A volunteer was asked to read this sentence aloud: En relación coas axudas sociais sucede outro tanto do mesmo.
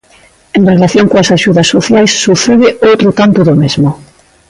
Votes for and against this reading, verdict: 2, 0, accepted